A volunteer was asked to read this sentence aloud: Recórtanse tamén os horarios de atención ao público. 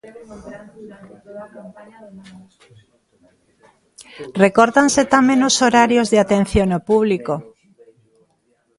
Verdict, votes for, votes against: accepted, 2, 1